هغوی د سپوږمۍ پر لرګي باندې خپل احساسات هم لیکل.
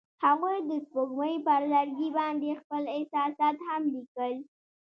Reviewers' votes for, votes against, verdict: 2, 0, accepted